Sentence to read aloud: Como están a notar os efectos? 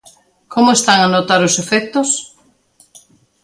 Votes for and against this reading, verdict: 2, 0, accepted